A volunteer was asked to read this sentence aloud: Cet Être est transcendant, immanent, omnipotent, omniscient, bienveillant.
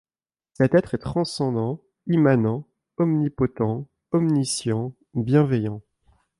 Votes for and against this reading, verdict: 2, 0, accepted